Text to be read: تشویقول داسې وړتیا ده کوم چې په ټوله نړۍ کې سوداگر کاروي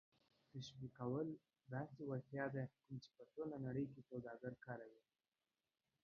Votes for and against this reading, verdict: 2, 0, accepted